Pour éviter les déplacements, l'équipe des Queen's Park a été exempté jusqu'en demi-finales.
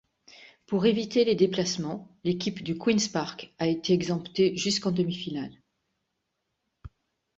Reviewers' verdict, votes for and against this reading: rejected, 0, 2